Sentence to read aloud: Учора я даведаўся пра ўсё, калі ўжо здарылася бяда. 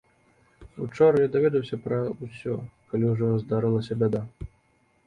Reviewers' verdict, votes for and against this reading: accepted, 2, 0